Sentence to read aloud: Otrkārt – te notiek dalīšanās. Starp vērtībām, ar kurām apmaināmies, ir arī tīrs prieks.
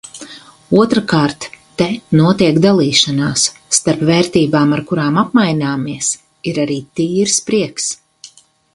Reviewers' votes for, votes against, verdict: 4, 0, accepted